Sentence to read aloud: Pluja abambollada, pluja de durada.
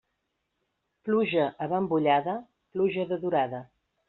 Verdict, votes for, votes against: accepted, 2, 0